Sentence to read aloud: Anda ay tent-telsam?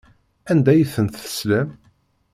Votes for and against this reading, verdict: 1, 2, rejected